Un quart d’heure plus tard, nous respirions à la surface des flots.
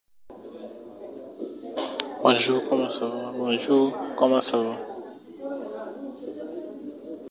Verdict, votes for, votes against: rejected, 0, 2